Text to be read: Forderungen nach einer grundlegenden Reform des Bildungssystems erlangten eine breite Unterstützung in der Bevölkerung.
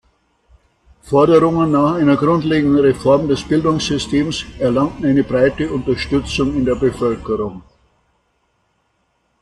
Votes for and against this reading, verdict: 2, 0, accepted